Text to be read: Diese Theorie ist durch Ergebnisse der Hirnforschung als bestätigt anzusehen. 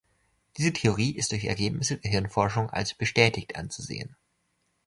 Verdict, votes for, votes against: accepted, 2, 0